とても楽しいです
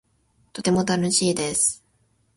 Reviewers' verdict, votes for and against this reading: rejected, 0, 2